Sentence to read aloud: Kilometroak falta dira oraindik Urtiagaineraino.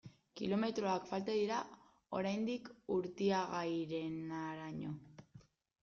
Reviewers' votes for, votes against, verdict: 0, 2, rejected